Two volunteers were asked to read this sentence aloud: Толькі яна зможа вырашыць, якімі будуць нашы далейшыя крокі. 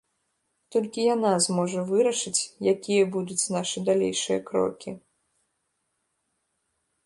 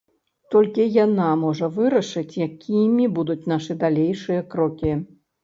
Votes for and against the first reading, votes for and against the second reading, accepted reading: 2, 1, 1, 2, first